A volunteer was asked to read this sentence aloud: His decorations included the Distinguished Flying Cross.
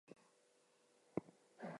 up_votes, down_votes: 0, 2